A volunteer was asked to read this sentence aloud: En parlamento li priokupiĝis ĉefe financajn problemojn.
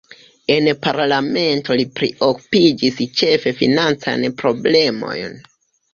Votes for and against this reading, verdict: 1, 3, rejected